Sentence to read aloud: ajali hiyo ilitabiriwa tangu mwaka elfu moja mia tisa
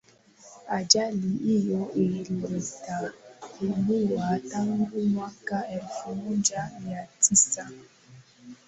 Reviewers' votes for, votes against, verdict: 0, 2, rejected